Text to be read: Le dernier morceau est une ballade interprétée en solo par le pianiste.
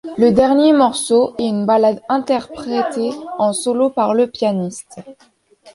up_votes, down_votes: 0, 2